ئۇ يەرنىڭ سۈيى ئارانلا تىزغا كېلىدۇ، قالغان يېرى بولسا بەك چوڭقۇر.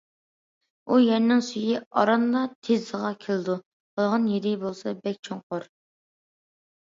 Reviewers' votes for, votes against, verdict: 2, 0, accepted